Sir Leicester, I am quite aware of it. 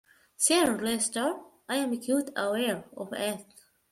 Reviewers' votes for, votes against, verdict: 0, 2, rejected